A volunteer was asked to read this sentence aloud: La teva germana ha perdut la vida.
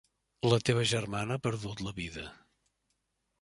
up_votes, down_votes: 3, 0